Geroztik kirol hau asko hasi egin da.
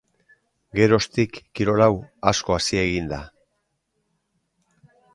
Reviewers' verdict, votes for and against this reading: accepted, 2, 0